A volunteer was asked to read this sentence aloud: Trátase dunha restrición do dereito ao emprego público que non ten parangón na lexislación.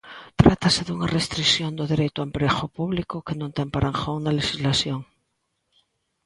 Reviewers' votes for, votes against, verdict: 2, 0, accepted